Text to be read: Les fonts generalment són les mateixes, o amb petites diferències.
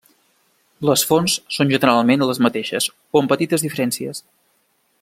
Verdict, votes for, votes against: rejected, 0, 2